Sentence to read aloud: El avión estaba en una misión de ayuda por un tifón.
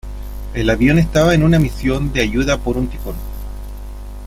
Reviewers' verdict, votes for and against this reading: accepted, 2, 1